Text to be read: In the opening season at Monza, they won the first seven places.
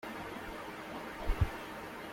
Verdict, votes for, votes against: rejected, 0, 2